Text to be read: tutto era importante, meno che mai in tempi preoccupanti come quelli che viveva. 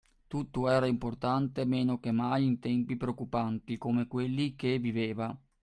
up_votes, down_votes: 2, 0